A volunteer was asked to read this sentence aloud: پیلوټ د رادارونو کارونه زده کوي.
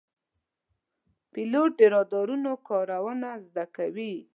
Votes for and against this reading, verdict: 2, 0, accepted